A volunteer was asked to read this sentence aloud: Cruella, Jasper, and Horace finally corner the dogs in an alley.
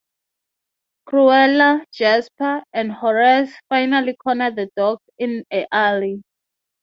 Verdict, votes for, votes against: rejected, 0, 3